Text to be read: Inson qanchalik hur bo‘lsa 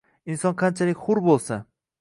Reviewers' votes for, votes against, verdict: 2, 0, accepted